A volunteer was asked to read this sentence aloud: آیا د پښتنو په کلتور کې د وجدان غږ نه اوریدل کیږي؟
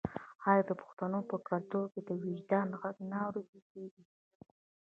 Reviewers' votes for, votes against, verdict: 3, 0, accepted